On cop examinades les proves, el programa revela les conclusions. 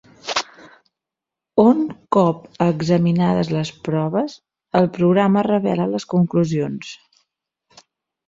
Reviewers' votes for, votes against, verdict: 2, 1, accepted